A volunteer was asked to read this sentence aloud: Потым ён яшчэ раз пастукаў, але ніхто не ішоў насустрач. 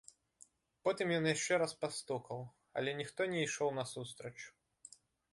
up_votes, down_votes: 2, 0